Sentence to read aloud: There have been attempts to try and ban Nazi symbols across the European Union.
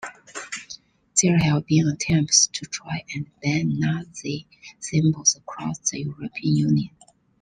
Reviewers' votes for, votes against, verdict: 2, 0, accepted